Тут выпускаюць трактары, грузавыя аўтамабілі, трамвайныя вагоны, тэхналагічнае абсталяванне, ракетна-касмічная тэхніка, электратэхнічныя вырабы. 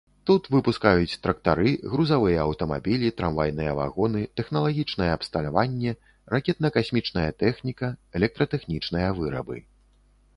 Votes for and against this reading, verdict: 2, 0, accepted